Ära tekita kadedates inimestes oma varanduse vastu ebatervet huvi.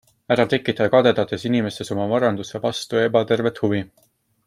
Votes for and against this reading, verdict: 2, 0, accepted